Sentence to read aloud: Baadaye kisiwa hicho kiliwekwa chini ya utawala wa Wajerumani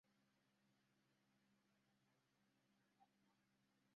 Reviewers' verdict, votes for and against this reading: rejected, 0, 2